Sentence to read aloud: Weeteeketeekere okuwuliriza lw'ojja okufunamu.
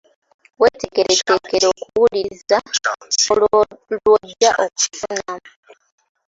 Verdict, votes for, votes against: accepted, 2, 1